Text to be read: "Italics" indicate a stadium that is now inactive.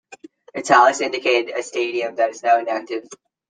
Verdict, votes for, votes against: accepted, 2, 0